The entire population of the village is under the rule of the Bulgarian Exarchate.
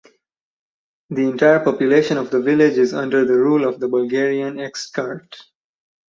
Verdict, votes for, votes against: rejected, 0, 2